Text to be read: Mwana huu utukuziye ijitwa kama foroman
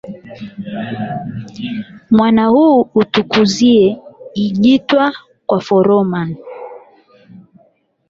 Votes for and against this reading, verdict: 4, 8, rejected